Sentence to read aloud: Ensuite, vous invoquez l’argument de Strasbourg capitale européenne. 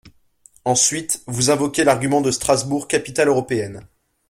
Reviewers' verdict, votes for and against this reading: accepted, 2, 0